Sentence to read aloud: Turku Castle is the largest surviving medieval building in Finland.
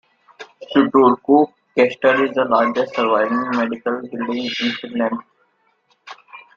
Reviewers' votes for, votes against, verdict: 0, 2, rejected